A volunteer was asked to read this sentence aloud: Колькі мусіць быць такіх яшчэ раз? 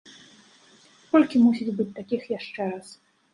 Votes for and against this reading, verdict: 2, 0, accepted